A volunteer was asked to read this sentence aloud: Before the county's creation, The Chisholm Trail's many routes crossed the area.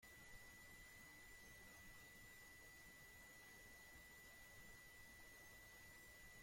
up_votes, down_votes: 0, 2